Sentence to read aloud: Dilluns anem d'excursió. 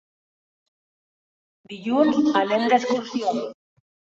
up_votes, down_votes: 1, 2